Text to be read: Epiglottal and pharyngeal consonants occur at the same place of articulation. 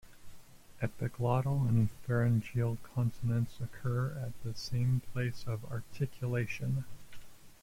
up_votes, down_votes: 0, 2